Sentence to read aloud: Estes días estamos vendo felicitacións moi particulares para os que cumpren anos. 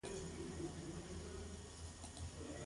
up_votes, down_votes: 0, 2